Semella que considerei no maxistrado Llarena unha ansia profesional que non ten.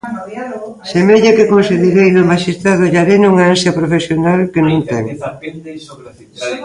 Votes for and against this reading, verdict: 0, 2, rejected